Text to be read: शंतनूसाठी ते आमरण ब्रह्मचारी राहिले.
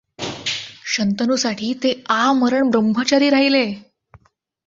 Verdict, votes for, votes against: accepted, 2, 0